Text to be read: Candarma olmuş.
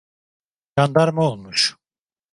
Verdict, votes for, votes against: rejected, 1, 2